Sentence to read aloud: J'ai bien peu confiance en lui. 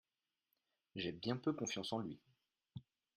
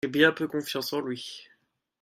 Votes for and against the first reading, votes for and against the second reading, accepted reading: 2, 0, 1, 2, first